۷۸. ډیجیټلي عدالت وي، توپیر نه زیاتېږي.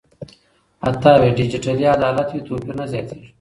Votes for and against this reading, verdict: 0, 2, rejected